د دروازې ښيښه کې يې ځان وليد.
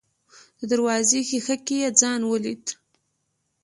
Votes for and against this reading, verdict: 2, 0, accepted